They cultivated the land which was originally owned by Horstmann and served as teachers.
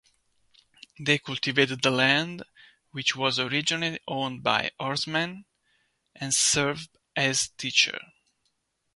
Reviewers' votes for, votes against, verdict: 0, 2, rejected